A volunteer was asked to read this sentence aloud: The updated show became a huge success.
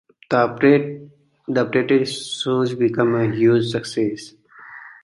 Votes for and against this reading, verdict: 1, 2, rejected